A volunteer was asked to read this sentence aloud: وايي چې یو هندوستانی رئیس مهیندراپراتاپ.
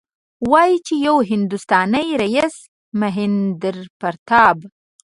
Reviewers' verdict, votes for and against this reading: rejected, 1, 2